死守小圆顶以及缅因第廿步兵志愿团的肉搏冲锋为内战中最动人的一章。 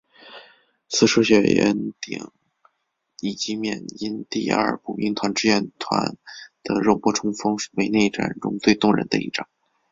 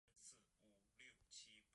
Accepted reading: first